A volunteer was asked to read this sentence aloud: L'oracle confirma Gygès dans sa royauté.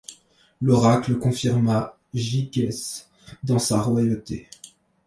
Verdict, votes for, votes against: accepted, 2, 1